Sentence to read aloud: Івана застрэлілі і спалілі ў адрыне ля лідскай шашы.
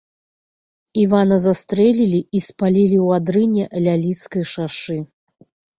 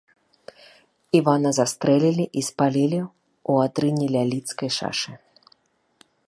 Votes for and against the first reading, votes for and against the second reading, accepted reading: 2, 0, 0, 2, first